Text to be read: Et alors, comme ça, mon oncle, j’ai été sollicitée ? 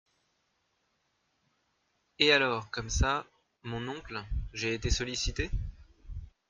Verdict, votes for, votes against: accepted, 2, 0